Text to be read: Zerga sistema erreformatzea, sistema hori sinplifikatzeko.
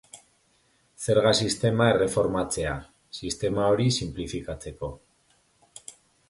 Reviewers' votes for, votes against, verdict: 2, 0, accepted